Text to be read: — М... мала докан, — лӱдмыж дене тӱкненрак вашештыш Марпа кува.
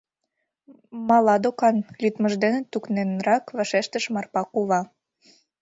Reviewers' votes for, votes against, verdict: 1, 2, rejected